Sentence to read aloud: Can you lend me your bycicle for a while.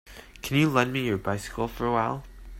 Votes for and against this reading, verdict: 3, 0, accepted